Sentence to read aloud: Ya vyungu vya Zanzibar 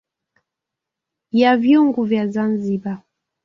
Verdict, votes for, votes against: rejected, 1, 2